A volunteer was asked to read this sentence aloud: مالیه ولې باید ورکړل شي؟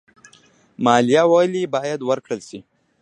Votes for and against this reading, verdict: 2, 0, accepted